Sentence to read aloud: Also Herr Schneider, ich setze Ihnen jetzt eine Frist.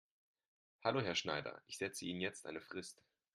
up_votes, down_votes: 0, 3